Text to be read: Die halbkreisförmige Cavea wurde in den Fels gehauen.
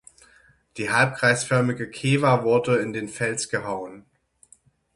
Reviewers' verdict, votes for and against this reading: rejected, 0, 6